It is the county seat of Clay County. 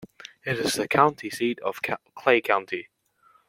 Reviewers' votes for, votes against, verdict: 0, 2, rejected